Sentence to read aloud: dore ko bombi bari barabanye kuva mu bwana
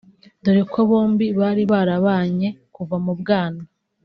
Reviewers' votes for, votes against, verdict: 2, 0, accepted